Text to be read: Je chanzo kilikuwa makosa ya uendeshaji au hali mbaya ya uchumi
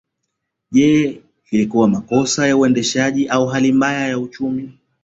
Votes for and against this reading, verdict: 2, 3, rejected